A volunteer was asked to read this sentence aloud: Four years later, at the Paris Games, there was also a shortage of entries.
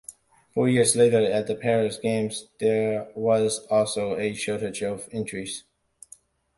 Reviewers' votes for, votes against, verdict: 2, 0, accepted